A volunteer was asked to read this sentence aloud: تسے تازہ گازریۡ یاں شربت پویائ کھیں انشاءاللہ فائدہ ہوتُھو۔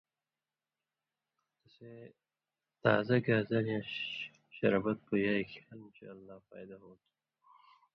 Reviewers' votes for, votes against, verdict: 1, 2, rejected